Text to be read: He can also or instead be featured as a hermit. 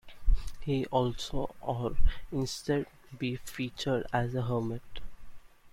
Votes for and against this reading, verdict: 0, 2, rejected